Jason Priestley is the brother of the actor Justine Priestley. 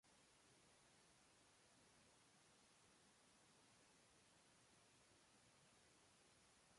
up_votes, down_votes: 0, 2